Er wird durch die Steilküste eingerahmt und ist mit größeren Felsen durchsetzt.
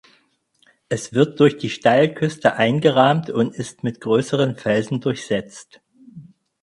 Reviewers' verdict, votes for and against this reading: rejected, 0, 4